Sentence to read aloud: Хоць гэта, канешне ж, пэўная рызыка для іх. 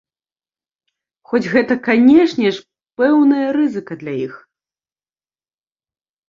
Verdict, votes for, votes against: accepted, 2, 0